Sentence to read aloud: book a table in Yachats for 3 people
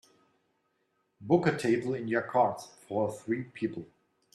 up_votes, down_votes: 0, 2